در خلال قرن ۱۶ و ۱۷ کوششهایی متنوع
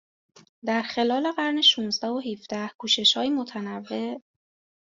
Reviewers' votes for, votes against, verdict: 0, 2, rejected